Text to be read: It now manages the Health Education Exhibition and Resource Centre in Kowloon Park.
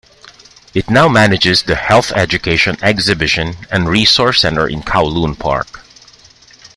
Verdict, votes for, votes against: accepted, 2, 1